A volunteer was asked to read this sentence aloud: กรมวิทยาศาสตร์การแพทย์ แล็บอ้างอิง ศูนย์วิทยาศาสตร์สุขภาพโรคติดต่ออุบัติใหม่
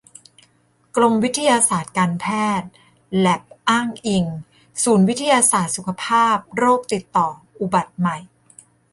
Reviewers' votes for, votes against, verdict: 2, 0, accepted